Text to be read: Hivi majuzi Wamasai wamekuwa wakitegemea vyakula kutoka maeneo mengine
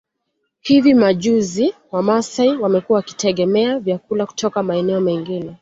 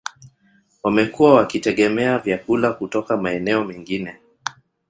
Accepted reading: first